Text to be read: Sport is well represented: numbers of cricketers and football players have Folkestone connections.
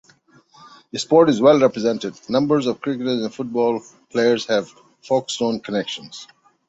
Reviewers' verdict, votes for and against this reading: accepted, 2, 0